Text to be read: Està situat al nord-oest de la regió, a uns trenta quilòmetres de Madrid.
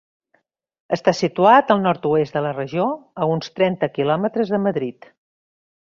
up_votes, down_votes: 3, 1